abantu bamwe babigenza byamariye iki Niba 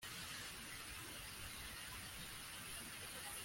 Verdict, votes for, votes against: rejected, 0, 2